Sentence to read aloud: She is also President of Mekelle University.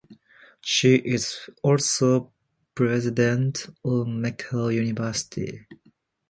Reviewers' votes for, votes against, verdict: 2, 0, accepted